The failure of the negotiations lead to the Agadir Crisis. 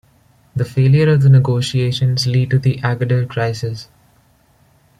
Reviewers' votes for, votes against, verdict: 1, 2, rejected